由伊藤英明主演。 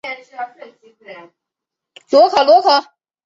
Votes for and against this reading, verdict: 0, 2, rejected